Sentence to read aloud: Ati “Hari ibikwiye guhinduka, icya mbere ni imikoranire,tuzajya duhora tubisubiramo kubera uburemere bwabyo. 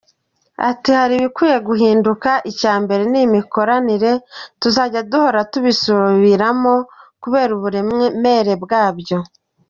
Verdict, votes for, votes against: accepted, 2, 1